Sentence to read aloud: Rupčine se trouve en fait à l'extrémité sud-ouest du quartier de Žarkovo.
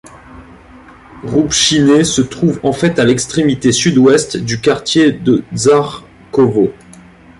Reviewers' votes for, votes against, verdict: 2, 0, accepted